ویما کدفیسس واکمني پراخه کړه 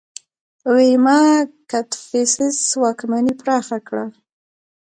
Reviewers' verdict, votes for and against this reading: rejected, 0, 2